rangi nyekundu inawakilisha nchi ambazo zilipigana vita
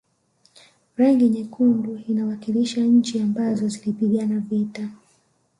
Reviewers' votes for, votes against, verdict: 1, 2, rejected